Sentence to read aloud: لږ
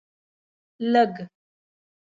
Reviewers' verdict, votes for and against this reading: rejected, 0, 2